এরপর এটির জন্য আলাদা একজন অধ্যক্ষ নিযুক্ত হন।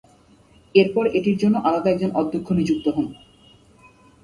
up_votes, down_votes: 0, 2